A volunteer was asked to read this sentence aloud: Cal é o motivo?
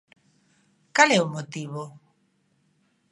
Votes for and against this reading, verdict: 2, 0, accepted